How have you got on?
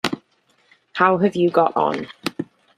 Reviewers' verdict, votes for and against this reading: accepted, 2, 0